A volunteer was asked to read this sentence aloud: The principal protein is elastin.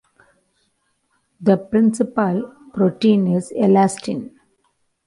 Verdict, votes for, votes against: accepted, 2, 1